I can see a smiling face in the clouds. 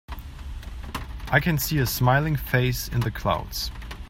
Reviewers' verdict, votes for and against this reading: accepted, 2, 0